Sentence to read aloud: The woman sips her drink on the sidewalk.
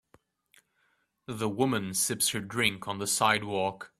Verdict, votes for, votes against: accepted, 2, 0